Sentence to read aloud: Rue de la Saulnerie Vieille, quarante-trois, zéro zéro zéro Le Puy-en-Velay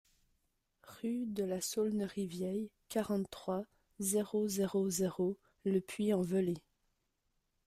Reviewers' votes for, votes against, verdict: 2, 0, accepted